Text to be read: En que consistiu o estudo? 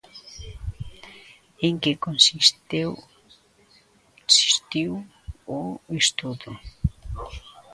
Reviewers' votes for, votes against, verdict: 0, 2, rejected